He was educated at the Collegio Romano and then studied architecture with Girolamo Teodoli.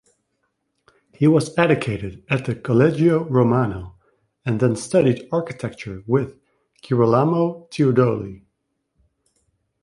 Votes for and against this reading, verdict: 1, 2, rejected